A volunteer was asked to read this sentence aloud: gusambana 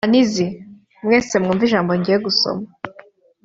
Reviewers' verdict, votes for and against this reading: rejected, 1, 2